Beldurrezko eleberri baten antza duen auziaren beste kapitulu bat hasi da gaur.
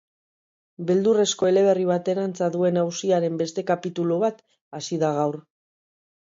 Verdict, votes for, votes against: accepted, 4, 0